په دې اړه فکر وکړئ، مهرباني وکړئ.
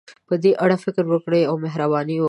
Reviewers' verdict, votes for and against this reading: accepted, 2, 1